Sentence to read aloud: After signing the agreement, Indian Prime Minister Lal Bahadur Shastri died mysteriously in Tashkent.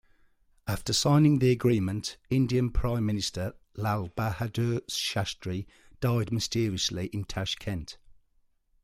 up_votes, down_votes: 2, 0